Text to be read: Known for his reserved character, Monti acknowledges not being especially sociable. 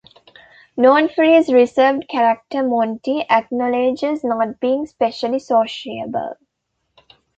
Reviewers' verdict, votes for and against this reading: rejected, 0, 2